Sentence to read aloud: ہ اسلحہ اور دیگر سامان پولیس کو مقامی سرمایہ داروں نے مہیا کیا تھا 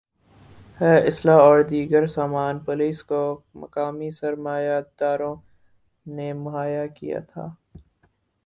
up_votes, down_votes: 2, 4